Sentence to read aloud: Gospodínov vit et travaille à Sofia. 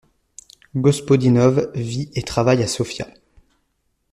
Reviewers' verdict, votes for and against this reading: accepted, 2, 0